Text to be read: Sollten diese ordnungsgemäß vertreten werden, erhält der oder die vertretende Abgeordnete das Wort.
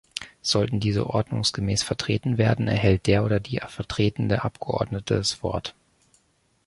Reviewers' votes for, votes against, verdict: 1, 2, rejected